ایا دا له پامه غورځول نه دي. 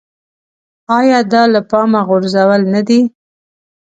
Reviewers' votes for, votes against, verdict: 2, 0, accepted